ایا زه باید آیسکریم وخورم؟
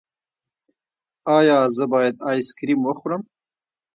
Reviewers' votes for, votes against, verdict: 0, 2, rejected